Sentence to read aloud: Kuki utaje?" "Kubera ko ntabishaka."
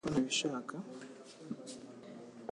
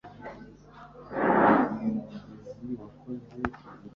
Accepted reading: first